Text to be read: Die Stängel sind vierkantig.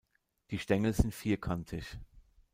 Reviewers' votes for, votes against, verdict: 1, 2, rejected